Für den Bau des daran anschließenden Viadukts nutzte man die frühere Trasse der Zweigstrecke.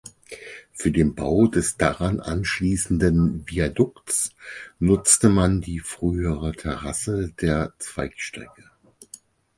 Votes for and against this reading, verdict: 0, 4, rejected